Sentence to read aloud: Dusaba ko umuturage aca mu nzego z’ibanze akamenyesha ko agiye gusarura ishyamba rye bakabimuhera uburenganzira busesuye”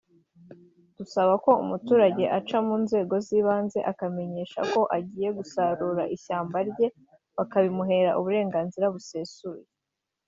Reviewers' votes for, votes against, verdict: 0, 2, rejected